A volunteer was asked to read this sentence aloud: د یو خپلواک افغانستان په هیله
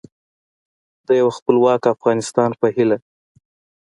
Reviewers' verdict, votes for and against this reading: accepted, 2, 0